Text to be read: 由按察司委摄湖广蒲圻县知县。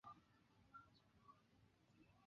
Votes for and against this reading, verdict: 1, 2, rejected